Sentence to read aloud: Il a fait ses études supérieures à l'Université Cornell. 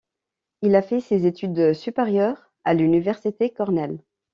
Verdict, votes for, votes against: accepted, 2, 0